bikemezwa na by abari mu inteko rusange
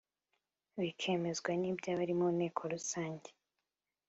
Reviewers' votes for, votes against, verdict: 2, 0, accepted